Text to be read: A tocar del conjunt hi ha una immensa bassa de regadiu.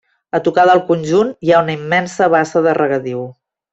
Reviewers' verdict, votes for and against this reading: accepted, 3, 0